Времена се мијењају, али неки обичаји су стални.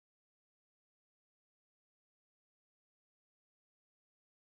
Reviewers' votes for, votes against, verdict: 0, 2, rejected